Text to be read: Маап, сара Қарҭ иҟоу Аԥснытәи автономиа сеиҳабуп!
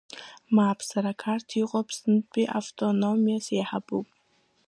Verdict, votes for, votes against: rejected, 1, 2